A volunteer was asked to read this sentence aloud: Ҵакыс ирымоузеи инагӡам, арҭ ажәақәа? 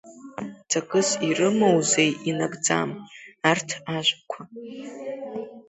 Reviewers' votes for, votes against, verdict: 2, 0, accepted